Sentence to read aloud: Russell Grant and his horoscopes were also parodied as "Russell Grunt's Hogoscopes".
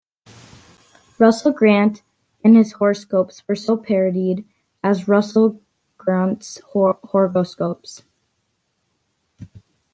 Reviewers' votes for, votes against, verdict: 0, 3, rejected